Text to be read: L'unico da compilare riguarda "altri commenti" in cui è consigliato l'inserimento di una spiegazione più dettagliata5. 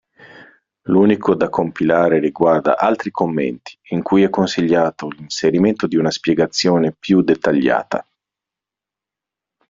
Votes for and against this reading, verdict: 0, 2, rejected